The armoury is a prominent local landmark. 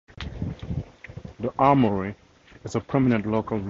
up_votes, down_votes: 0, 2